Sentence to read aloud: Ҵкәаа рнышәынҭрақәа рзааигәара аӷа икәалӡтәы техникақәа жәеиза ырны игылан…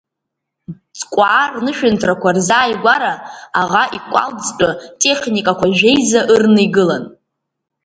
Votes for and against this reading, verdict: 1, 2, rejected